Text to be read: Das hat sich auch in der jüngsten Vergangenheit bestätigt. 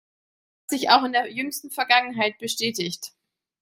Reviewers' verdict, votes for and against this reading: rejected, 1, 2